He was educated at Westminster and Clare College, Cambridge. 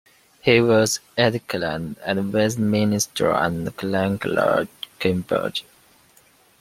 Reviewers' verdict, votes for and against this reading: rejected, 1, 2